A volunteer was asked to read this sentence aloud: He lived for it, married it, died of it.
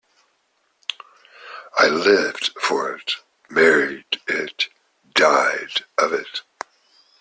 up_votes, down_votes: 1, 2